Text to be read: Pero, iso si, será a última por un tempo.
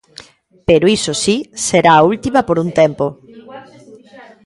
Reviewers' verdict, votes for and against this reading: accepted, 2, 0